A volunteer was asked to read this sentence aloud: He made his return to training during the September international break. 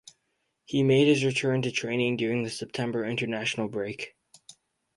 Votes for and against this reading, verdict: 2, 0, accepted